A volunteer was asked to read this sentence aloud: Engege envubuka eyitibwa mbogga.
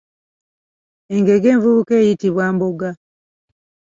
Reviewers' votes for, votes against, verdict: 1, 2, rejected